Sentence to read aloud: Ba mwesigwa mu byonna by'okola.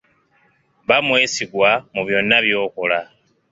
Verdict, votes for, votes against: accepted, 3, 0